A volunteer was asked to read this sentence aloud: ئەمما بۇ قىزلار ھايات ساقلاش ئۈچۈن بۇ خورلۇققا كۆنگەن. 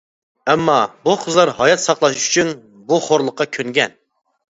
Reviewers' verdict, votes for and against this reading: accepted, 2, 0